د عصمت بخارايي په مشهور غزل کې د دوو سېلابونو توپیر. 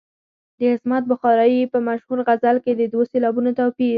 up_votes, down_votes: 2, 4